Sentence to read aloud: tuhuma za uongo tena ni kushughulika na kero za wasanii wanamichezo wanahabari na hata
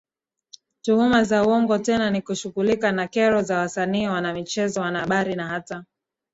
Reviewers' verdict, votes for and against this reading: accepted, 2, 0